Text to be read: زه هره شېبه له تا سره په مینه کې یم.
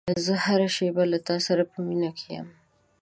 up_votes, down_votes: 2, 0